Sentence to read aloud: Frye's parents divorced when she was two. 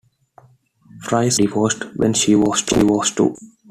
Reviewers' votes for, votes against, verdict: 0, 2, rejected